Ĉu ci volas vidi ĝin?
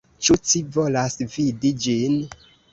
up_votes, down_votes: 2, 0